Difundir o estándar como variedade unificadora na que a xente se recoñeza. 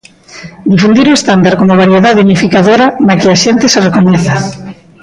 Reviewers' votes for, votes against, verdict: 0, 2, rejected